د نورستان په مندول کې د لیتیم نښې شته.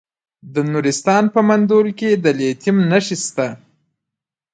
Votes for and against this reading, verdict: 1, 2, rejected